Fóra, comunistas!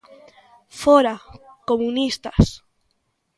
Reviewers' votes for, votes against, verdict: 2, 0, accepted